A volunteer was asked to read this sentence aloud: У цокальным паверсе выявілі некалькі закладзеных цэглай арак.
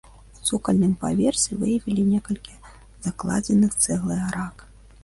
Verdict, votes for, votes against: rejected, 0, 2